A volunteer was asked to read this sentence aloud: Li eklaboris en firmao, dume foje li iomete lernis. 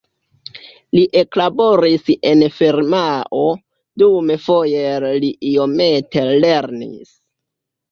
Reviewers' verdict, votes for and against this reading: rejected, 0, 2